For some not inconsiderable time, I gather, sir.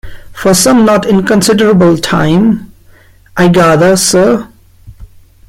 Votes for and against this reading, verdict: 1, 2, rejected